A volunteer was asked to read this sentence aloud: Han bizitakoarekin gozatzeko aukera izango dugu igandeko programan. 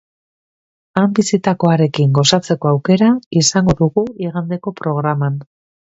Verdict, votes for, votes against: accepted, 3, 0